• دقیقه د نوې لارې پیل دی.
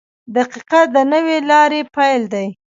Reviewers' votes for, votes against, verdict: 0, 2, rejected